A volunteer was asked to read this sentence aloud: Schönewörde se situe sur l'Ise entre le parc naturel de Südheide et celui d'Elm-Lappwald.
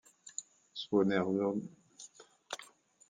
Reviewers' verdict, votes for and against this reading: rejected, 0, 2